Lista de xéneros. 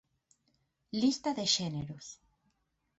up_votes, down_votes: 6, 0